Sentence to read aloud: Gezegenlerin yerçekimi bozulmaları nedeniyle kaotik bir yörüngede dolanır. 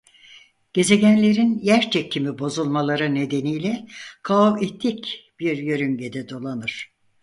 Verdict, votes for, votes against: rejected, 2, 4